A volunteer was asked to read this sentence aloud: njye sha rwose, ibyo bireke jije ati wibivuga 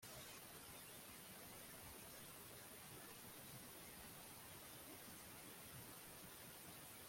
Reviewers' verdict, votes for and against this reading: rejected, 0, 2